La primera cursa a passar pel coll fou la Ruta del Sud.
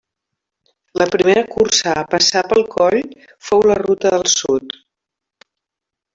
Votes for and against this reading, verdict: 1, 2, rejected